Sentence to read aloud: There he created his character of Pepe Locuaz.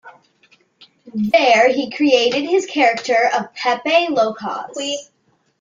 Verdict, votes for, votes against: rejected, 1, 2